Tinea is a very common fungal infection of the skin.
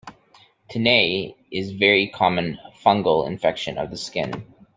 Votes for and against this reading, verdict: 1, 2, rejected